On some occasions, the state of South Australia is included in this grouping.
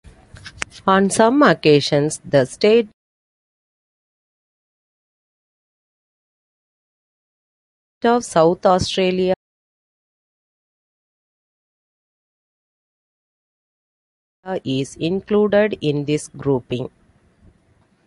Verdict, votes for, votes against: rejected, 0, 2